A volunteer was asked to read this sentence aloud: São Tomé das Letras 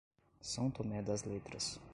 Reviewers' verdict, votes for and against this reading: rejected, 0, 2